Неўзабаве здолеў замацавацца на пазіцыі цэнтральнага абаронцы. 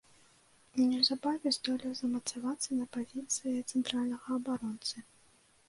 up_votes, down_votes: 1, 2